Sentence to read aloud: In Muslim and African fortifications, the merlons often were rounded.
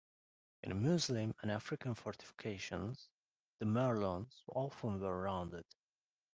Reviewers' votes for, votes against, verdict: 0, 2, rejected